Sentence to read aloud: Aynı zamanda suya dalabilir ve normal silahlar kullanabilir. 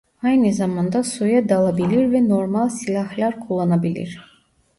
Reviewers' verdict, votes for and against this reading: rejected, 0, 2